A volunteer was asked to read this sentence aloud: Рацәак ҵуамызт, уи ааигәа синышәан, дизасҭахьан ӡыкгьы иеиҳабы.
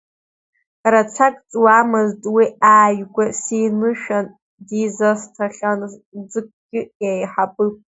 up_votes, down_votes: 1, 3